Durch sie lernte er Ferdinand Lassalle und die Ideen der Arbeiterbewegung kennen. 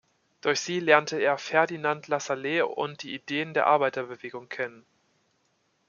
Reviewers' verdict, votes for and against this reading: rejected, 0, 2